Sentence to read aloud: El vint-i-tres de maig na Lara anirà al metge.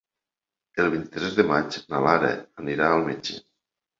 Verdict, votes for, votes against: rejected, 0, 2